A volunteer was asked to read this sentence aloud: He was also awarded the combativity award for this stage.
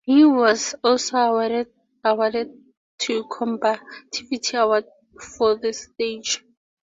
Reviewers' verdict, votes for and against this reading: rejected, 0, 2